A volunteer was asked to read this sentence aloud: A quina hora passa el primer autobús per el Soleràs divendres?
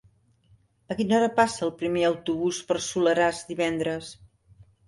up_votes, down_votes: 1, 2